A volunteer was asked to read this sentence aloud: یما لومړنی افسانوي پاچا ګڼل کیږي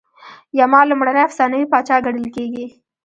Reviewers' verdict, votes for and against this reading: rejected, 0, 2